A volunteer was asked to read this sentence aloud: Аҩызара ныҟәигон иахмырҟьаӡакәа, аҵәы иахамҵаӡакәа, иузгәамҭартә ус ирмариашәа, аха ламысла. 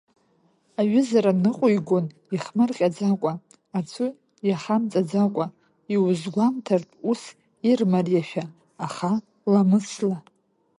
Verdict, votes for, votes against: rejected, 1, 2